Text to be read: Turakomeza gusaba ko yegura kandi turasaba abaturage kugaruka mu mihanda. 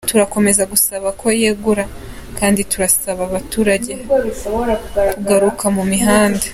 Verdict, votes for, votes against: accepted, 3, 0